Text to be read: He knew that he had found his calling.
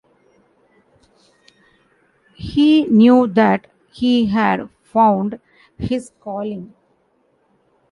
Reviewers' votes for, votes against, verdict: 1, 2, rejected